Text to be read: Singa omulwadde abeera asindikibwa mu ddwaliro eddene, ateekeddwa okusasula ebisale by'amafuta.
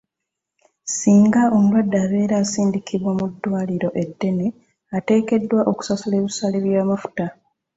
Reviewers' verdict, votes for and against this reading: accepted, 2, 0